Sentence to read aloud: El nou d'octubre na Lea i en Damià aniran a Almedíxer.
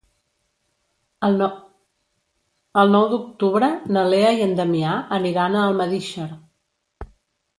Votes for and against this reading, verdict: 0, 2, rejected